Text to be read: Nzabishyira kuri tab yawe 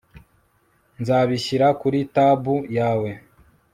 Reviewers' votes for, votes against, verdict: 4, 0, accepted